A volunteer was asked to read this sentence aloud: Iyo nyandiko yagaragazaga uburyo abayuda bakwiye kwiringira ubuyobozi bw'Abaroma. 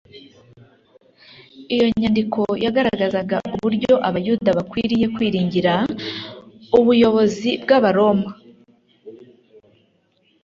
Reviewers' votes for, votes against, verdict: 2, 0, accepted